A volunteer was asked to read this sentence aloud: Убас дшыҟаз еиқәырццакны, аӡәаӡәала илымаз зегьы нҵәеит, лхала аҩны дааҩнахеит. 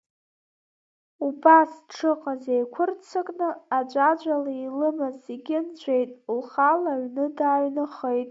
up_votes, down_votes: 1, 2